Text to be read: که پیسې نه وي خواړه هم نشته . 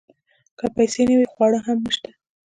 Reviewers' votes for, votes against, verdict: 2, 1, accepted